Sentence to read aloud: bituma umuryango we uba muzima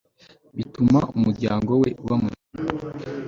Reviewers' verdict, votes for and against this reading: rejected, 1, 2